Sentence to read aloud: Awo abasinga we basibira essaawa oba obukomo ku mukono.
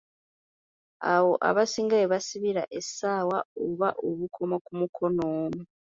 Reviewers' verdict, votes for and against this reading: accepted, 2, 1